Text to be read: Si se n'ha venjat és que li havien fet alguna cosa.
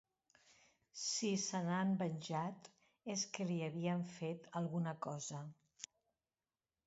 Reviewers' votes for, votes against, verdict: 0, 2, rejected